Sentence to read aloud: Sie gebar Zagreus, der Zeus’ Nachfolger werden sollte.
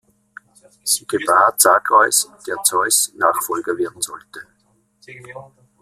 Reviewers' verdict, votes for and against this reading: rejected, 1, 2